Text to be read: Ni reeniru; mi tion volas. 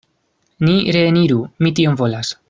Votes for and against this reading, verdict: 2, 0, accepted